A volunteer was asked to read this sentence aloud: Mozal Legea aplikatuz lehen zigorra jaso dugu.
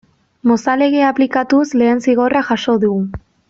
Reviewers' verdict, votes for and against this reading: accepted, 2, 0